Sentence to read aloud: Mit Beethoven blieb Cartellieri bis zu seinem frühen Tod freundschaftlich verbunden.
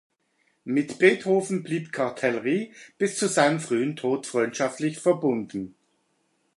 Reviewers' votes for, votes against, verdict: 1, 2, rejected